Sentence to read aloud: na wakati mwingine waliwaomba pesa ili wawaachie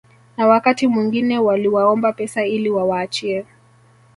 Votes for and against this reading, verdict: 2, 0, accepted